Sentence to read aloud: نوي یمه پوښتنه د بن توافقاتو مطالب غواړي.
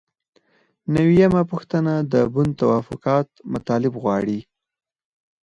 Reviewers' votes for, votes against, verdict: 2, 4, rejected